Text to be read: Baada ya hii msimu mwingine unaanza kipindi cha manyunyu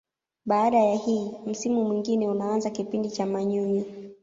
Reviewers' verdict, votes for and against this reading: rejected, 1, 2